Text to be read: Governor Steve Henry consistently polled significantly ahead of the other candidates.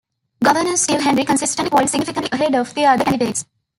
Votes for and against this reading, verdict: 1, 2, rejected